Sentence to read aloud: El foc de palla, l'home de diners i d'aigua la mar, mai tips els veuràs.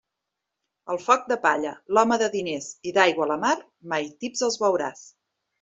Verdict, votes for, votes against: accepted, 2, 0